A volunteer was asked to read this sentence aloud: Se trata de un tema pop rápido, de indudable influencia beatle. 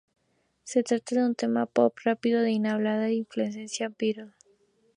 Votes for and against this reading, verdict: 0, 4, rejected